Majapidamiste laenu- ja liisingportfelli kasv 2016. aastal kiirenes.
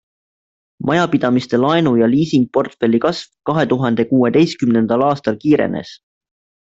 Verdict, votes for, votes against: rejected, 0, 2